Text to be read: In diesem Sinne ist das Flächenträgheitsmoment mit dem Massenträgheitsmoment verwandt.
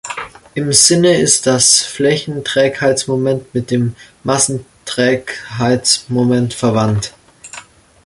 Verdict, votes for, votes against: rejected, 0, 2